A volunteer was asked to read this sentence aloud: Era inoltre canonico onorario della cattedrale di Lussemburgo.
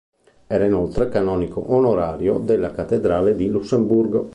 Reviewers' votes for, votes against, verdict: 2, 0, accepted